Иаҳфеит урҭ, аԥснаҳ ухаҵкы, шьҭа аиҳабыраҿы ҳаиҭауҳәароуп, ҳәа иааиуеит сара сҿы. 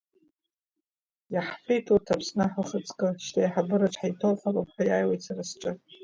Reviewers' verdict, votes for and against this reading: accepted, 2, 0